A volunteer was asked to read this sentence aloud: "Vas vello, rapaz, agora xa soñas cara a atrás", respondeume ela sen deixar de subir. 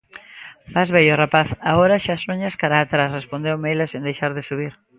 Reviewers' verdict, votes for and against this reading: accepted, 2, 1